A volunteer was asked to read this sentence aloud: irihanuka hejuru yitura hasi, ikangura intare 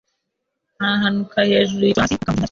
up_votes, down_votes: 0, 2